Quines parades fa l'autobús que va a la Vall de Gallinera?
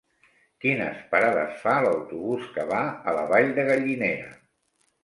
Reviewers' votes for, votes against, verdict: 3, 1, accepted